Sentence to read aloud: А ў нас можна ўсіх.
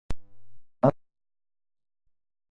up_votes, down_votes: 0, 2